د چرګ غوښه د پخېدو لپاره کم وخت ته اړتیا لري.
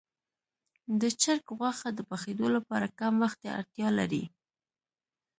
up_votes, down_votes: 2, 0